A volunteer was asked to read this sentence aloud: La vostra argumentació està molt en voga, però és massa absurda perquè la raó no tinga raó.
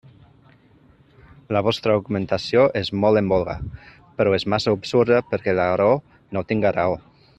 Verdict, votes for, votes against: rejected, 1, 2